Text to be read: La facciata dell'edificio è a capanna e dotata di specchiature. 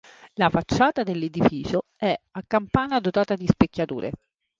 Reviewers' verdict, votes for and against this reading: rejected, 0, 2